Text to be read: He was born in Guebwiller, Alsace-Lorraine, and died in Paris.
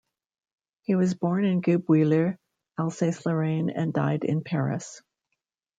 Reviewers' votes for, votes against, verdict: 2, 0, accepted